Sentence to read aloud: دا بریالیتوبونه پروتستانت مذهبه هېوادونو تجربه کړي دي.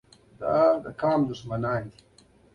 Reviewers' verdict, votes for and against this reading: rejected, 0, 2